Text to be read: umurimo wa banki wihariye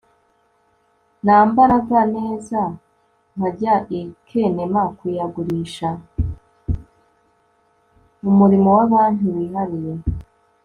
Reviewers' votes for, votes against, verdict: 1, 2, rejected